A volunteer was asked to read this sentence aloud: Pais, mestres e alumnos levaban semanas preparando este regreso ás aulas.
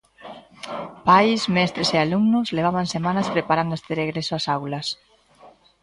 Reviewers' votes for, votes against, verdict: 2, 0, accepted